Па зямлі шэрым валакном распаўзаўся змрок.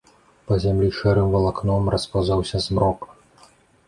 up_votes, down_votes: 2, 0